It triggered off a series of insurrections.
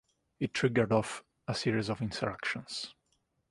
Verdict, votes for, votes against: accepted, 2, 0